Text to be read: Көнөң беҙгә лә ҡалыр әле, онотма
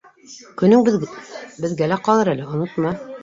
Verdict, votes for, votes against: rejected, 0, 2